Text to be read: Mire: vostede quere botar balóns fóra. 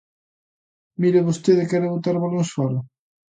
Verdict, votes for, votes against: accepted, 2, 0